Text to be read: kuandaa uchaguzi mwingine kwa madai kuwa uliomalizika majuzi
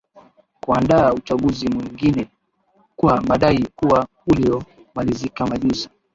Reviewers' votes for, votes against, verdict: 4, 5, rejected